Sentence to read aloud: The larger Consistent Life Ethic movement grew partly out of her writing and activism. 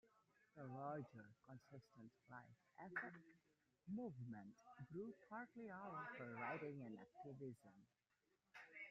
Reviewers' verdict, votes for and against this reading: rejected, 0, 2